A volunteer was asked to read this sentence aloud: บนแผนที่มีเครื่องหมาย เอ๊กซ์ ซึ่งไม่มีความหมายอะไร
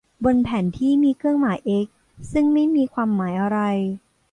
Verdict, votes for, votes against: accepted, 2, 0